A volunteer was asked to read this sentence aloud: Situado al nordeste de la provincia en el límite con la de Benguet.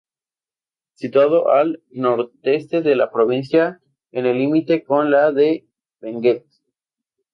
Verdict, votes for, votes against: rejected, 0, 2